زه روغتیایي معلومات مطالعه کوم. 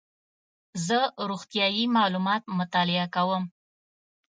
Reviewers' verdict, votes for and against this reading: accepted, 2, 0